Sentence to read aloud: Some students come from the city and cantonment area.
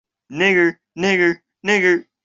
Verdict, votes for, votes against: rejected, 0, 2